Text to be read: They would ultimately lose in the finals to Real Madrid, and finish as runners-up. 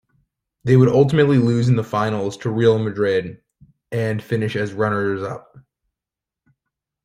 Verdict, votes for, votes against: accepted, 2, 0